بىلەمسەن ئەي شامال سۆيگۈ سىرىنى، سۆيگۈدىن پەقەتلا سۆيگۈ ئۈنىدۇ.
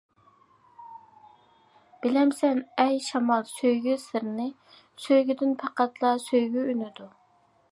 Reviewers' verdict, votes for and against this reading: accepted, 2, 0